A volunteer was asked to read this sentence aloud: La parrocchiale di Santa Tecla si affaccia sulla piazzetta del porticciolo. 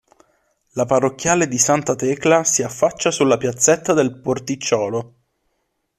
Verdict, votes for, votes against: accepted, 2, 0